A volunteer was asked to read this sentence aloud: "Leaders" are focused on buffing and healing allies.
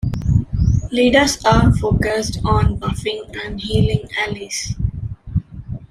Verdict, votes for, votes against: rejected, 1, 2